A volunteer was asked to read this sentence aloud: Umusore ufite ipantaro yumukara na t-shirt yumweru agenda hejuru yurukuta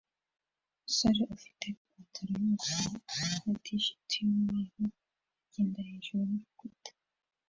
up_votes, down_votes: 1, 2